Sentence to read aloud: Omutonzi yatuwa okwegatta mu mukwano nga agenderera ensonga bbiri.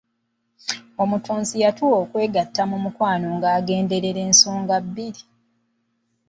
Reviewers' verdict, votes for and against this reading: accepted, 2, 0